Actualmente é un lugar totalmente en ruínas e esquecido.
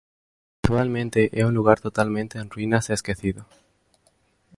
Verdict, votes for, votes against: rejected, 0, 3